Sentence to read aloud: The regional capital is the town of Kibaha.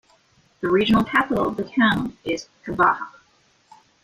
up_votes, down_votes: 0, 2